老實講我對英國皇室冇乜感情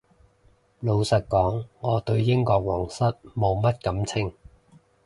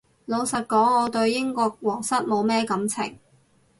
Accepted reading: first